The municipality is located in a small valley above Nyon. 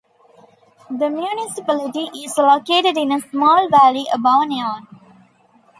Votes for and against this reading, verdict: 0, 2, rejected